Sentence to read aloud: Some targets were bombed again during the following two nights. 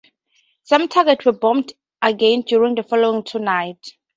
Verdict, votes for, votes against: accepted, 2, 0